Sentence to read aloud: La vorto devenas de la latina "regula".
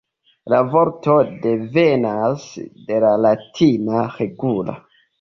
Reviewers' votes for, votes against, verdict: 2, 0, accepted